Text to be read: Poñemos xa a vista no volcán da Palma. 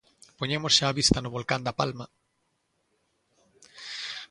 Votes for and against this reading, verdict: 2, 0, accepted